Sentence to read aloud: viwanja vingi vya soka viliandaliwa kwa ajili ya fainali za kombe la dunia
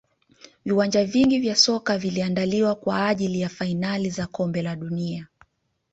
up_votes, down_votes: 2, 0